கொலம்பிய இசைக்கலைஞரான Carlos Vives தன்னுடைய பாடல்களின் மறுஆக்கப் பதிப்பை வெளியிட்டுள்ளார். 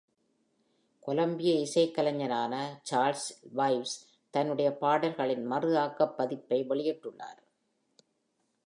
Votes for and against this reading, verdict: 0, 2, rejected